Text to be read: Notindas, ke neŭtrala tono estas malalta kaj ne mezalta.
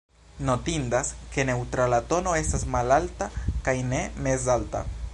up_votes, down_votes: 1, 2